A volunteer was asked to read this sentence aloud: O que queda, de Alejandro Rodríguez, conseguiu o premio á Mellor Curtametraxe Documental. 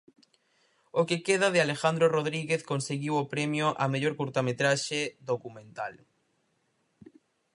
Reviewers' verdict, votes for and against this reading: accepted, 4, 0